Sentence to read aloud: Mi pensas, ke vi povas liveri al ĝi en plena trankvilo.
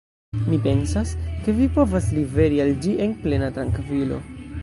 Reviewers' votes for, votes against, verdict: 0, 2, rejected